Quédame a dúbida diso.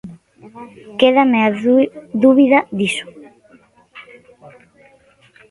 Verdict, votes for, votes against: rejected, 1, 2